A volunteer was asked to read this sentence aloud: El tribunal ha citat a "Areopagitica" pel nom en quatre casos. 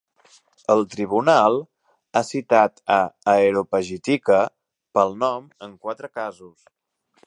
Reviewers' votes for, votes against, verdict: 1, 2, rejected